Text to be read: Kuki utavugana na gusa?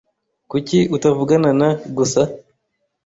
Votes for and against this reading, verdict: 3, 0, accepted